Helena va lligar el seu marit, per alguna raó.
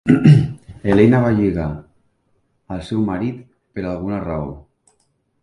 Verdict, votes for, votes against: accepted, 2, 1